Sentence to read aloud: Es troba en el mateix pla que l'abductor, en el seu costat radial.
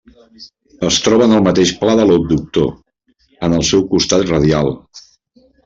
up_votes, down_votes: 0, 2